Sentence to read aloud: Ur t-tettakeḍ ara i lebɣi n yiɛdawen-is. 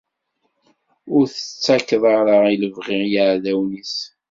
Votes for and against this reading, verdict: 2, 0, accepted